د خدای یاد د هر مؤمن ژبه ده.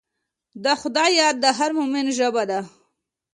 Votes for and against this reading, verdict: 2, 0, accepted